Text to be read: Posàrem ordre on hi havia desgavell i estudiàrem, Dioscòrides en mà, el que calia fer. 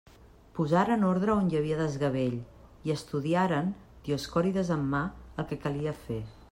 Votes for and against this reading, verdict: 1, 2, rejected